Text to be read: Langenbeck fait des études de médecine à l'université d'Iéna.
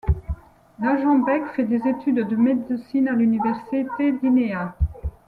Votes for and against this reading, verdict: 1, 2, rejected